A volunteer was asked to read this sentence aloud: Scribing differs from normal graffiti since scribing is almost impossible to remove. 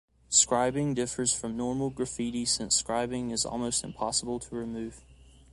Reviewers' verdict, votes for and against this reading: accepted, 2, 0